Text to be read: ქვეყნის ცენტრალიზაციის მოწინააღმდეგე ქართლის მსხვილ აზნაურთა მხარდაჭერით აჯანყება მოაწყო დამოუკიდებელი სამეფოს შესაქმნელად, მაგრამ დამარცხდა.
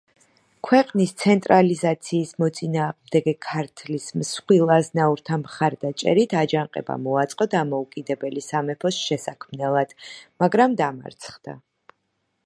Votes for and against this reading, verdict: 2, 0, accepted